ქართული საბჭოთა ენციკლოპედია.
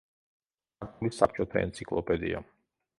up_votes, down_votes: 0, 2